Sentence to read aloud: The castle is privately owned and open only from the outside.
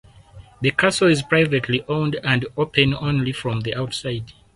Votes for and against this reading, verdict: 4, 0, accepted